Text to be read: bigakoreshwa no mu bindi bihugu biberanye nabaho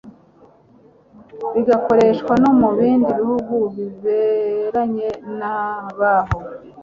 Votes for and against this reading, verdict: 2, 0, accepted